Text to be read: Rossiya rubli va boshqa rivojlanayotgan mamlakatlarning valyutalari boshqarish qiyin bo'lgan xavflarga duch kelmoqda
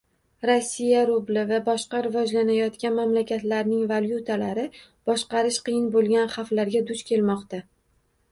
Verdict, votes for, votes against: accepted, 2, 0